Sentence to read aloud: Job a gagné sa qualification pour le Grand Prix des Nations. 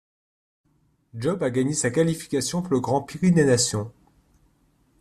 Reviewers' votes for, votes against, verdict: 1, 3, rejected